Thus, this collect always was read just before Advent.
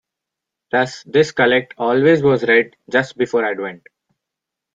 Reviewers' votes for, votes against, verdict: 2, 1, accepted